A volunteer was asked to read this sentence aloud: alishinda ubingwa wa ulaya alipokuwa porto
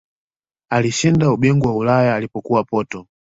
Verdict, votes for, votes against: accepted, 2, 1